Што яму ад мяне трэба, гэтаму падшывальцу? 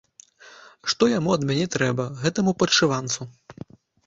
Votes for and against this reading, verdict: 0, 2, rejected